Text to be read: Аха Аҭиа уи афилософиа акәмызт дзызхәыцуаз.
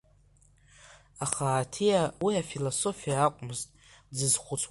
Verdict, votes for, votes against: rejected, 0, 2